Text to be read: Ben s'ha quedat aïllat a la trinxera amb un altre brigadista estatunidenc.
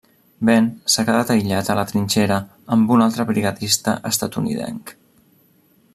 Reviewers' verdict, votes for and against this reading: rejected, 1, 2